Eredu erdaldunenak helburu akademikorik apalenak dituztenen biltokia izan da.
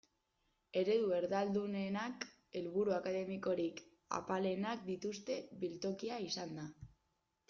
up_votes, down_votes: 0, 2